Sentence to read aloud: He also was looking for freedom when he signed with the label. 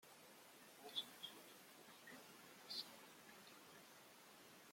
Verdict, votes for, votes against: rejected, 0, 2